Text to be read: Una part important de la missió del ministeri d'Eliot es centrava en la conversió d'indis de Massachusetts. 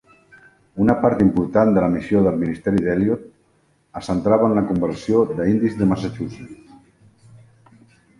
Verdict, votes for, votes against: rejected, 0, 2